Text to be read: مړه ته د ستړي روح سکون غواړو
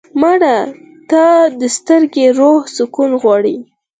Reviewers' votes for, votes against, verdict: 4, 2, accepted